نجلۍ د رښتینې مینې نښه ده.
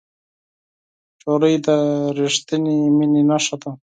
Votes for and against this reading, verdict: 4, 2, accepted